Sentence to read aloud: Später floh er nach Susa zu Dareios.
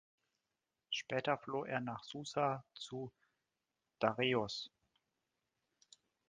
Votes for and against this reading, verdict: 1, 2, rejected